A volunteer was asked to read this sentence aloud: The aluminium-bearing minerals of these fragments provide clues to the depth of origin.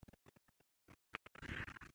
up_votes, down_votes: 0, 2